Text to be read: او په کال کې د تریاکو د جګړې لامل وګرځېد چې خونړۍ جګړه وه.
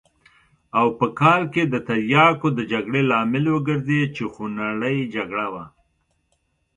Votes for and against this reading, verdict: 2, 0, accepted